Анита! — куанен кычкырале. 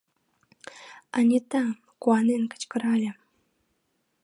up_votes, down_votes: 2, 0